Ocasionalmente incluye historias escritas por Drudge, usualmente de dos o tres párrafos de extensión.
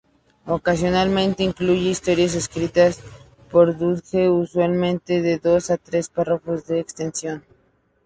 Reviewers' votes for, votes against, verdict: 2, 0, accepted